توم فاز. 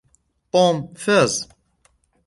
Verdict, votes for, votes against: accepted, 2, 1